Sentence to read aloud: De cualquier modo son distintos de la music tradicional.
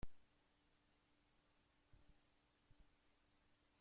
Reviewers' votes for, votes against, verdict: 0, 2, rejected